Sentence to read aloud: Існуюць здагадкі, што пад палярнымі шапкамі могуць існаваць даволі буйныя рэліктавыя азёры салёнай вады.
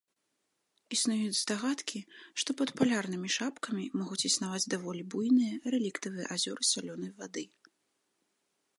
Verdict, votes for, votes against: accepted, 2, 0